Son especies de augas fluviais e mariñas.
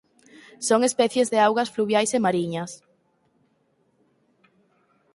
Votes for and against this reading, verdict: 4, 0, accepted